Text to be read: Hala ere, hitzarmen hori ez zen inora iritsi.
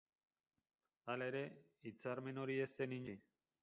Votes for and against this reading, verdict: 0, 4, rejected